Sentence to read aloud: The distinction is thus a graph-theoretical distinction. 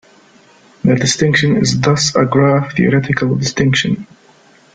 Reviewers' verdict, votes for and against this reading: accepted, 2, 0